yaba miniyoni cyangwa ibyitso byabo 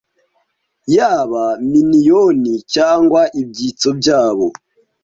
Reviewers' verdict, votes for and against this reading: accepted, 2, 0